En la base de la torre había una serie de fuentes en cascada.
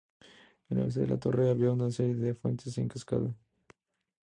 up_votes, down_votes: 0, 2